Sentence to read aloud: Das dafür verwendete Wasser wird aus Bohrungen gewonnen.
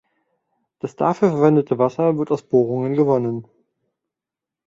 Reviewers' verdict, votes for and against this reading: accepted, 2, 1